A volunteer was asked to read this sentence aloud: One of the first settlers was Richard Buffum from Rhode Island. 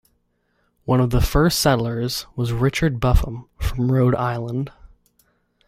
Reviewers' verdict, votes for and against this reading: accepted, 2, 0